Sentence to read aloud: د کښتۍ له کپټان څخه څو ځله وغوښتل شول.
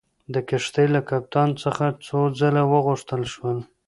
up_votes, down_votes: 1, 2